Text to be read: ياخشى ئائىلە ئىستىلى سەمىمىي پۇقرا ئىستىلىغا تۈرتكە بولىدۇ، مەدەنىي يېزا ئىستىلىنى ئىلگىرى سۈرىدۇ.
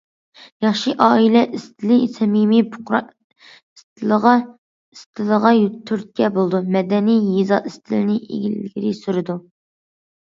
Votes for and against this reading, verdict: 0, 3, rejected